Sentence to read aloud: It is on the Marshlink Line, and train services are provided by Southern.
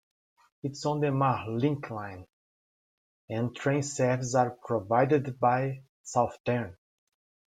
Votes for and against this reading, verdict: 1, 2, rejected